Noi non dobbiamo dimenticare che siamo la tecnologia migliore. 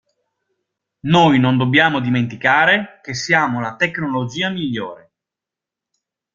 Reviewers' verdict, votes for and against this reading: accepted, 2, 0